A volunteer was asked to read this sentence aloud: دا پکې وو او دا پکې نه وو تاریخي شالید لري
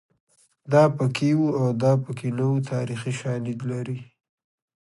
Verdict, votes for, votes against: accepted, 2, 0